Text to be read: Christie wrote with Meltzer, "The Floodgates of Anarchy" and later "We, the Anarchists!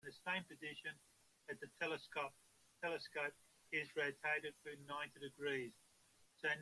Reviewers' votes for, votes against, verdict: 0, 2, rejected